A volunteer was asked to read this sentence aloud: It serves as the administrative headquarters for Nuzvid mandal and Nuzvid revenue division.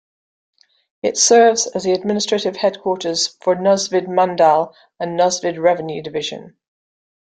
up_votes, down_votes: 2, 0